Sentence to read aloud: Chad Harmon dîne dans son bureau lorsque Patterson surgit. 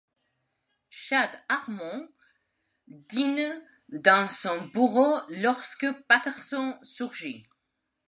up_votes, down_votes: 2, 1